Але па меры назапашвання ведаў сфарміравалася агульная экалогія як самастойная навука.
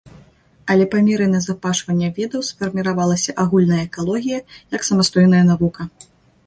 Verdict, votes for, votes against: accepted, 2, 0